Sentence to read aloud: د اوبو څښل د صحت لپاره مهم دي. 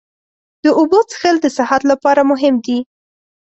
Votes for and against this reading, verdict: 4, 0, accepted